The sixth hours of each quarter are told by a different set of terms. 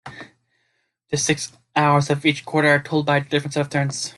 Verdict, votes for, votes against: rejected, 1, 2